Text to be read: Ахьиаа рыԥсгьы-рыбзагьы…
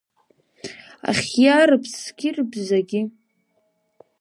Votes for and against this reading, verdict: 2, 0, accepted